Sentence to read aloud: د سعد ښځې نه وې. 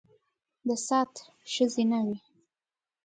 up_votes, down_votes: 2, 0